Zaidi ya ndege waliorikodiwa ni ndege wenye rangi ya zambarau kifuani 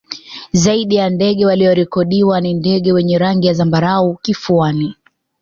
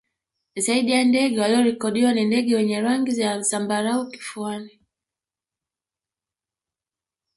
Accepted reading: first